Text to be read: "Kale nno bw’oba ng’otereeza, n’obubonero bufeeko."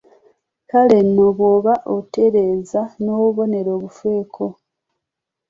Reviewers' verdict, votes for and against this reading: rejected, 1, 2